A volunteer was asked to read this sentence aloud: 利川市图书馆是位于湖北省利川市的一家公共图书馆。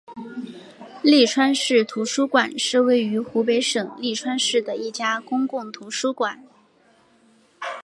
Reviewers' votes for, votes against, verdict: 3, 0, accepted